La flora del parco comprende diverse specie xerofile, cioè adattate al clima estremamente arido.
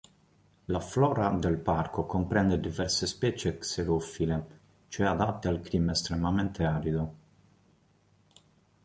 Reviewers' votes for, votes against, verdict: 3, 1, accepted